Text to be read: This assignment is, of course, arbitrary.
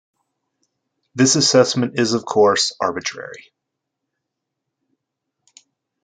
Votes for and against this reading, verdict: 0, 2, rejected